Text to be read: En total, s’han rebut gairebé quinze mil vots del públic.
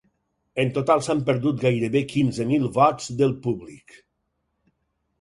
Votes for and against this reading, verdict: 2, 4, rejected